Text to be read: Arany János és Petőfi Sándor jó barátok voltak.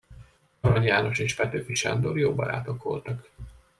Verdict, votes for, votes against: accepted, 2, 0